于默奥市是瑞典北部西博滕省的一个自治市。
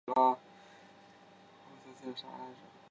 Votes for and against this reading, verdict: 1, 2, rejected